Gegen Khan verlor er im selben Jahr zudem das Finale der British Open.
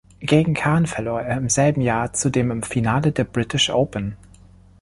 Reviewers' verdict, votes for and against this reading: rejected, 0, 2